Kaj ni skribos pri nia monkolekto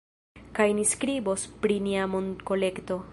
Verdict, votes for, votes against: accepted, 2, 1